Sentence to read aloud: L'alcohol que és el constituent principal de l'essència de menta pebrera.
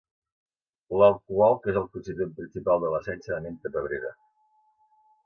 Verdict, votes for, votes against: rejected, 1, 2